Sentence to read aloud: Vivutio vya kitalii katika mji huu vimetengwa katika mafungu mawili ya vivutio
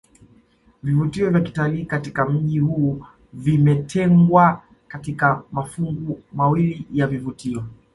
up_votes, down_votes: 2, 1